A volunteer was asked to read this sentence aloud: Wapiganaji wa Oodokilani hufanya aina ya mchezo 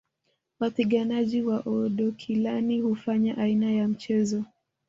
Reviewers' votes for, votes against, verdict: 1, 2, rejected